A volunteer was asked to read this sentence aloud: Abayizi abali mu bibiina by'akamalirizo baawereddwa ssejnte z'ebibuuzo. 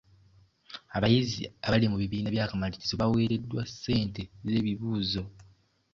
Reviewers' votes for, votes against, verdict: 1, 2, rejected